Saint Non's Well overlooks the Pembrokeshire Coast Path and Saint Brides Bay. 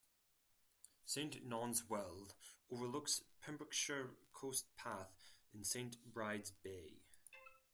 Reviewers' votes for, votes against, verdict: 4, 2, accepted